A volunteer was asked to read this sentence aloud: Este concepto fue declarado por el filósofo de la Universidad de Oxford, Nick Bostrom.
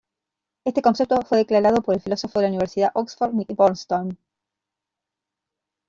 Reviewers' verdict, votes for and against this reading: rejected, 1, 2